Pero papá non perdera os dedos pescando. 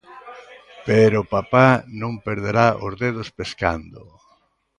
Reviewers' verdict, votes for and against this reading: rejected, 0, 2